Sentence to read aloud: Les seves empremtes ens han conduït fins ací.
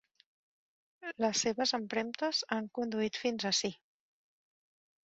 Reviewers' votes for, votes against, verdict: 0, 2, rejected